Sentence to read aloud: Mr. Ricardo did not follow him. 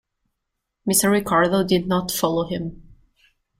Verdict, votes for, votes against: accepted, 2, 0